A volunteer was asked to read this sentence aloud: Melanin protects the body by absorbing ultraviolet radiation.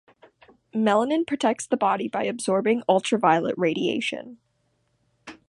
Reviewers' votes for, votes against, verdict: 2, 0, accepted